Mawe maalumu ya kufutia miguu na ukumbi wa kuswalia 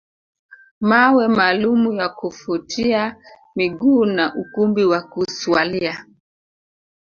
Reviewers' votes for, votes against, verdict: 2, 1, accepted